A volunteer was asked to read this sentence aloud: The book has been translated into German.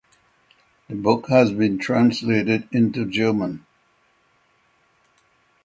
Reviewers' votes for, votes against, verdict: 9, 0, accepted